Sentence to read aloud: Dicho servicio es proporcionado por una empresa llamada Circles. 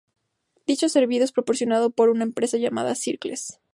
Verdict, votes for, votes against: accepted, 2, 0